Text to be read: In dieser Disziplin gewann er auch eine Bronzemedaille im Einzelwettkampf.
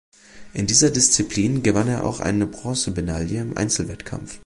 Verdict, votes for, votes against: accepted, 2, 0